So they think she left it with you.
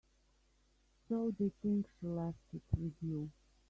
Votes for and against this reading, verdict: 0, 2, rejected